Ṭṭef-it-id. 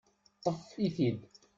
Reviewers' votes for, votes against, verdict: 0, 2, rejected